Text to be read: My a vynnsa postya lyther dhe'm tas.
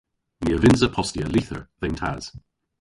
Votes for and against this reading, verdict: 1, 2, rejected